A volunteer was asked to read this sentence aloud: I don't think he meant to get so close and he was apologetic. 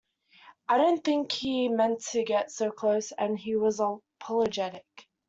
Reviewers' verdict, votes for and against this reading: rejected, 0, 2